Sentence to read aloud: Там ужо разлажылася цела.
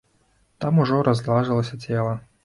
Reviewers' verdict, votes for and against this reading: rejected, 0, 2